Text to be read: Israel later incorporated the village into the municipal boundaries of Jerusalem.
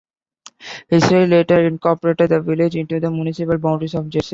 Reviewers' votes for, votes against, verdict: 0, 2, rejected